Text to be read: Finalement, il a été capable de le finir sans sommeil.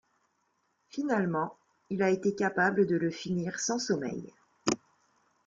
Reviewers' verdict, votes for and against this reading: accepted, 2, 0